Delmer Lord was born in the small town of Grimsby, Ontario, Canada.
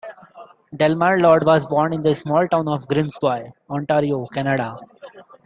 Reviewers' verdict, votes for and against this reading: accepted, 2, 0